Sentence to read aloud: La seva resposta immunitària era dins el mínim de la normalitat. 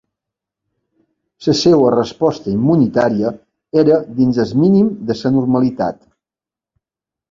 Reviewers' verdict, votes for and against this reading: rejected, 1, 2